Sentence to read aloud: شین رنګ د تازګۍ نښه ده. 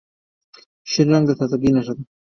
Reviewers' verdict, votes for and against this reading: rejected, 1, 2